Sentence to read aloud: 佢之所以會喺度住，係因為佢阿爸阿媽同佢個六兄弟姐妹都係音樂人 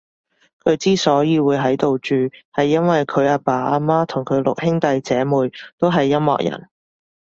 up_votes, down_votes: 2, 0